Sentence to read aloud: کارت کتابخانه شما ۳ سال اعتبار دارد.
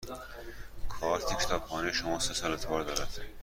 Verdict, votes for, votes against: rejected, 0, 2